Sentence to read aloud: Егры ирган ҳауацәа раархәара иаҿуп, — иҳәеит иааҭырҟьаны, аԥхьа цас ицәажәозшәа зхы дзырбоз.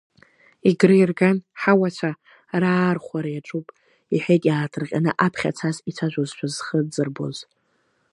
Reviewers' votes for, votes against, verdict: 2, 0, accepted